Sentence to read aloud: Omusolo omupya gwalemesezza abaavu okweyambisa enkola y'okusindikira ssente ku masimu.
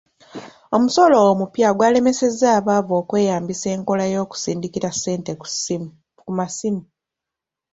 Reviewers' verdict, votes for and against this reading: rejected, 1, 2